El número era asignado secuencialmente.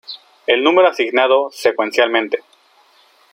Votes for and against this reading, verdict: 0, 3, rejected